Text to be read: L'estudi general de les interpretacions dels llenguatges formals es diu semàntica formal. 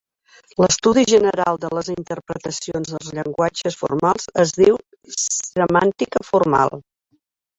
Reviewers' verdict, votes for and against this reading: rejected, 1, 2